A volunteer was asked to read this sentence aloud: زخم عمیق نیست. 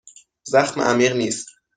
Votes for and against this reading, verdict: 2, 0, accepted